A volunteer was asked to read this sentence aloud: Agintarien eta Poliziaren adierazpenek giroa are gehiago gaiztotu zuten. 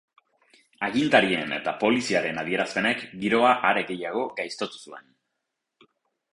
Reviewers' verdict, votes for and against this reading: rejected, 2, 4